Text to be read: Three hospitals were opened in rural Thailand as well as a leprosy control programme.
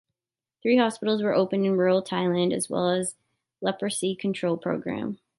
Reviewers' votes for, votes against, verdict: 0, 2, rejected